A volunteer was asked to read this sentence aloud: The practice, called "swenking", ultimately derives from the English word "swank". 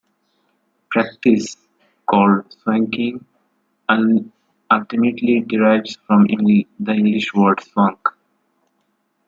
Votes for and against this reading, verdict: 0, 2, rejected